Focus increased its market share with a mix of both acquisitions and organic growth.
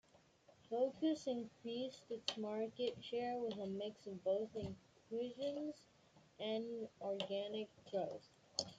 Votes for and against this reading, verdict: 1, 2, rejected